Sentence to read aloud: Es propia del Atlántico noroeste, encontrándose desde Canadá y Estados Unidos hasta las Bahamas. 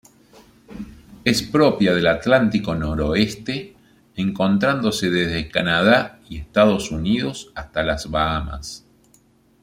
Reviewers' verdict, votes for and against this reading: rejected, 1, 2